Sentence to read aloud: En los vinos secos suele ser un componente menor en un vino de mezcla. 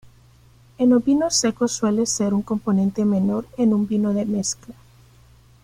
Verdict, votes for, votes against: rejected, 1, 2